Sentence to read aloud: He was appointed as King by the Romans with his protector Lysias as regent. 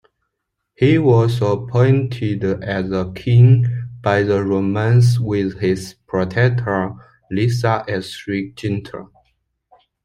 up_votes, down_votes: 2, 0